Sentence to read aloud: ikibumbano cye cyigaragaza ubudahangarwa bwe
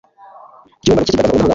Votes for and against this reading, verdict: 2, 3, rejected